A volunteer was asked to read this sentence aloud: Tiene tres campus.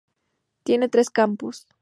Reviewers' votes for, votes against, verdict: 2, 0, accepted